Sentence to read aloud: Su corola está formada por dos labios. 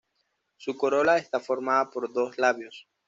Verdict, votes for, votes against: accepted, 2, 0